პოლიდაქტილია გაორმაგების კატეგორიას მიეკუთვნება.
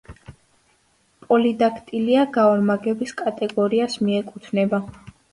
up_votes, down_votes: 2, 0